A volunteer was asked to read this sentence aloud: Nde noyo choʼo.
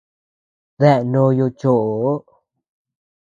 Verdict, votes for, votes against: rejected, 1, 2